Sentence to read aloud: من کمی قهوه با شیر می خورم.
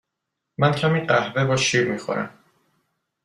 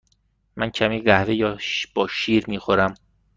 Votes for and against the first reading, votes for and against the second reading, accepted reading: 2, 0, 1, 2, first